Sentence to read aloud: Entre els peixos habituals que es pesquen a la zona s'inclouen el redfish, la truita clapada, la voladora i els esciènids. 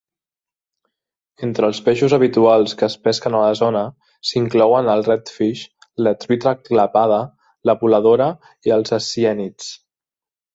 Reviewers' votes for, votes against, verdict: 2, 0, accepted